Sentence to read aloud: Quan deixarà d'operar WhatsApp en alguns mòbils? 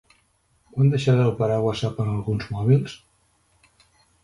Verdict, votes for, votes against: rejected, 1, 2